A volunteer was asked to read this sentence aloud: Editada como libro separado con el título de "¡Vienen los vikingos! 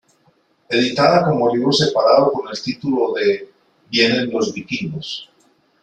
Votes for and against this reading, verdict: 1, 2, rejected